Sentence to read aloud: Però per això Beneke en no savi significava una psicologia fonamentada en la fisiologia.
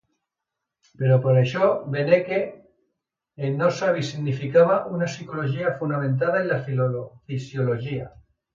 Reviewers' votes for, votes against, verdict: 0, 2, rejected